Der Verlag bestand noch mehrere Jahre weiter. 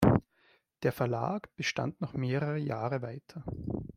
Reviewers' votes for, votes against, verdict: 2, 0, accepted